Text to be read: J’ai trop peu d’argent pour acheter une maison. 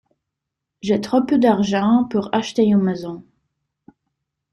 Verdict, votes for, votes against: accepted, 2, 0